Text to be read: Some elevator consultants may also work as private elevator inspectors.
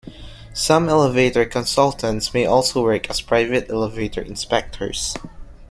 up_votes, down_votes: 2, 0